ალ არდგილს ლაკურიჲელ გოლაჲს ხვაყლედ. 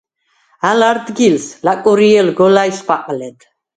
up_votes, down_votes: 4, 0